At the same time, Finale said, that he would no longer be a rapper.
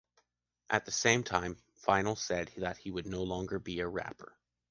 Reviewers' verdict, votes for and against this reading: rejected, 0, 2